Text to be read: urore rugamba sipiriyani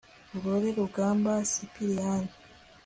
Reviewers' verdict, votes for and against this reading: accepted, 3, 0